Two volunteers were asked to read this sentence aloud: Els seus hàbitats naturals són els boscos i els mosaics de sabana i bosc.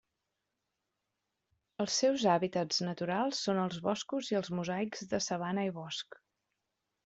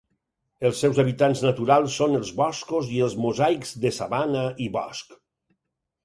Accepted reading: first